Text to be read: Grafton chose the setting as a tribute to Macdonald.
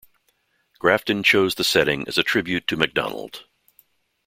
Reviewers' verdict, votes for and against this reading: accepted, 2, 0